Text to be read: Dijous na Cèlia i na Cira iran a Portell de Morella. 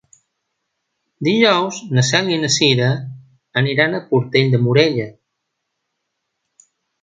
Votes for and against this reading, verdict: 0, 2, rejected